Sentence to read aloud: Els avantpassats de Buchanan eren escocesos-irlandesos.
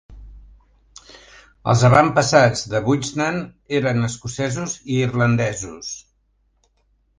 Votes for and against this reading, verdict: 1, 2, rejected